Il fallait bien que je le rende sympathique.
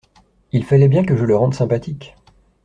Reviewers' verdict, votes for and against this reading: accepted, 2, 0